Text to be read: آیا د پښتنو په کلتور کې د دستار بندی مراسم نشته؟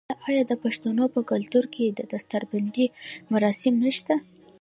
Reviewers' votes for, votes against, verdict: 1, 2, rejected